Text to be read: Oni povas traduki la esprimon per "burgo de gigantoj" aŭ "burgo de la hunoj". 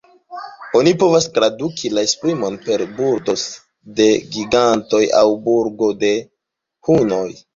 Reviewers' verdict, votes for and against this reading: rejected, 0, 2